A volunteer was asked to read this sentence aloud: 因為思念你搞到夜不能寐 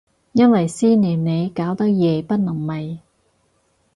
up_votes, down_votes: 4, 0